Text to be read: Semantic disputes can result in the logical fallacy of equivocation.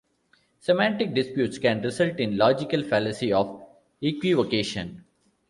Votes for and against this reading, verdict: 2, 0, accepted